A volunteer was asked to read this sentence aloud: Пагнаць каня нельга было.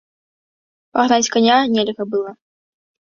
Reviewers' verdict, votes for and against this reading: rejected, 0, 2